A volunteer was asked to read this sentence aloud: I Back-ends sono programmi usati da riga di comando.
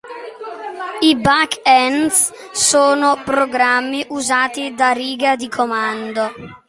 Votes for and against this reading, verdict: 0, 2, rejected